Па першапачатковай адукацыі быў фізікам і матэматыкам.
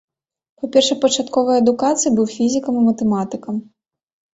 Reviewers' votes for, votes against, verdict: 2, 0, accepted